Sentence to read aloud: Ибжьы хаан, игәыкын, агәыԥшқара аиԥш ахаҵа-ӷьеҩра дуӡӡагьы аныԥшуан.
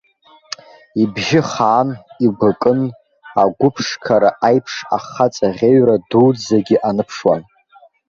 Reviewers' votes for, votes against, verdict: 0, 2, rejected